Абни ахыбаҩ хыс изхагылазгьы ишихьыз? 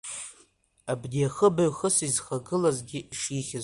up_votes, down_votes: 2, 0